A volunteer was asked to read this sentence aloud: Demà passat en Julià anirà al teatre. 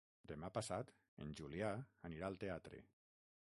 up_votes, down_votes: 3, 6